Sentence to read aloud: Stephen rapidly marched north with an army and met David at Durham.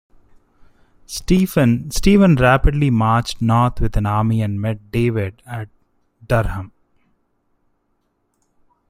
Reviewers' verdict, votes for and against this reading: rejected, 0, 2